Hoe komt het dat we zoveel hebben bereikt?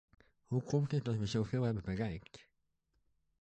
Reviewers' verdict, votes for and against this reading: rejected, 0, 2